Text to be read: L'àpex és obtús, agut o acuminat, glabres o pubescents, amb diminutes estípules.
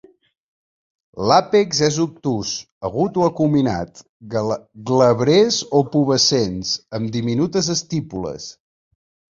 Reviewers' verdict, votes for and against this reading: rejected, 1, 2